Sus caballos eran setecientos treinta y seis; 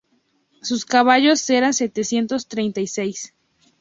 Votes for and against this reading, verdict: 2, 0, accepted